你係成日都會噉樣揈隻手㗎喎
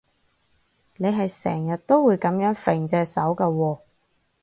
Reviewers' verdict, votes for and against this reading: accepted, 4, 0